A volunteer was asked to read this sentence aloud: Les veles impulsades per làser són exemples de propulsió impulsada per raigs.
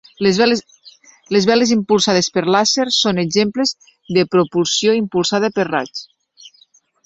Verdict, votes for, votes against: rejected, 0, 2